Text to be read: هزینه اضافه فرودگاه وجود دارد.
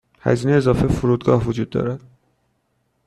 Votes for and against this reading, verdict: 2, 0, accepted